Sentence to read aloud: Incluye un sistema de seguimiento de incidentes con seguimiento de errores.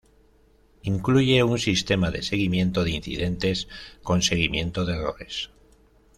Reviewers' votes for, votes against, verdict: 2, 0, accepted